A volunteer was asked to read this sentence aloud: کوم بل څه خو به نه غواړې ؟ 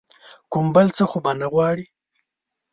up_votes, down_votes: 2, 0